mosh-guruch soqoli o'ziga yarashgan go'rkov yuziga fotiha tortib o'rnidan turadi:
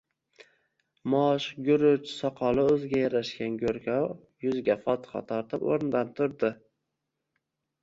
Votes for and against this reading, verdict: 1, 2, rejected